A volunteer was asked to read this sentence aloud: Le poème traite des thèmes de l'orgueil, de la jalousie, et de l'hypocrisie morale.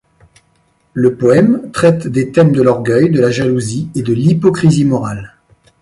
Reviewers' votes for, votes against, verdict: 2, 0, accepted